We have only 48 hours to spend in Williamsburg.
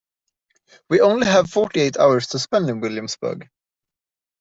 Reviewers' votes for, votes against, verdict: 0, 2, rejected